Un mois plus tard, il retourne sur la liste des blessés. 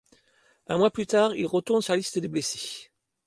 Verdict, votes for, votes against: accepted, 2, 0